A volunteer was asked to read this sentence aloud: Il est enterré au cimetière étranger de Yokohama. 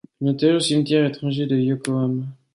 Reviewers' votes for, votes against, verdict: 0, 2, rejected